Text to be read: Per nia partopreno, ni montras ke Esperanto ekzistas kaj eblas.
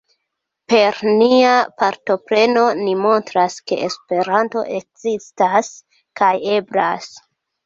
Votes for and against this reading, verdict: 2, 1, accepted